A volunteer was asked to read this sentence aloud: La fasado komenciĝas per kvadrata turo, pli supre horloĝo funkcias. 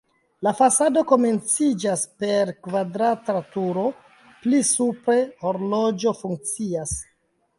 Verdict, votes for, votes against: accepted, 2, 0